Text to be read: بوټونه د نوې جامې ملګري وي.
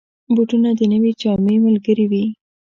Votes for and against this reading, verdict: 2, 0, accepted